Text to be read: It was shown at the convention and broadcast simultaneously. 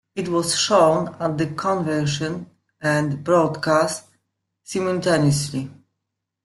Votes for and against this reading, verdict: 2, 1, accepted